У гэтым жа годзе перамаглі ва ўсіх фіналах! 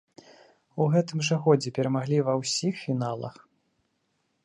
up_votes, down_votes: 2, 0